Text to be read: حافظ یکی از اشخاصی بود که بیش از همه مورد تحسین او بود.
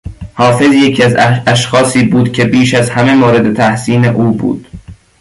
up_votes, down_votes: 0, 2